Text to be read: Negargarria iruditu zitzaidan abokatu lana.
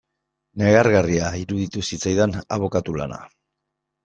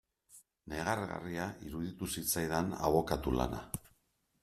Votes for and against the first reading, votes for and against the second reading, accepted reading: 1, 2, 2, 0, second